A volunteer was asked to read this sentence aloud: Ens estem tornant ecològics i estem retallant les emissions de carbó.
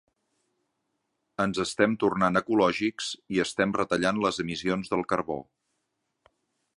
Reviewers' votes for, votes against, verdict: 0, 2, rejected